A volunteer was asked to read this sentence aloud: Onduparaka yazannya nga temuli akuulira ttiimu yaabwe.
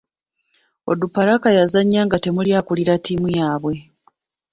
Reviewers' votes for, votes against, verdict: 0, 2, rejected